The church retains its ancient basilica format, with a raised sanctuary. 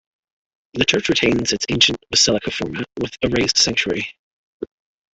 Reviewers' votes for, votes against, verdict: 1, 2, rejected